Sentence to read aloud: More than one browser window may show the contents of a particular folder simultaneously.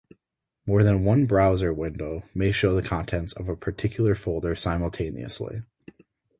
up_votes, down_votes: 4, 0